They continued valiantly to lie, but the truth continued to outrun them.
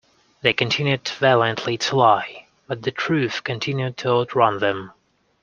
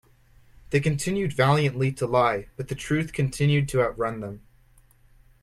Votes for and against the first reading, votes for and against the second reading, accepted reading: 1, 2, 2, 0, second